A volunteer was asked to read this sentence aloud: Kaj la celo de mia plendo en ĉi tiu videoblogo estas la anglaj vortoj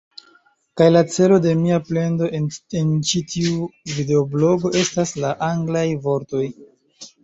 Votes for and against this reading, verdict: 2, 1, accepted